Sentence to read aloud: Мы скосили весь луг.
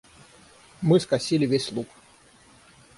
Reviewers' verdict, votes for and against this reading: accepted, 6, 0